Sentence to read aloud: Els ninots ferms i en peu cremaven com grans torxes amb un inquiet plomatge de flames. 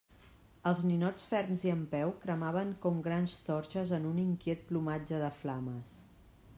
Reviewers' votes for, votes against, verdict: 1, 2, rejected